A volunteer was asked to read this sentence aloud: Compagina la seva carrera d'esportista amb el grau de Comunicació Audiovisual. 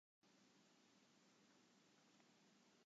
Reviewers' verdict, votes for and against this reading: rejected, 0, 2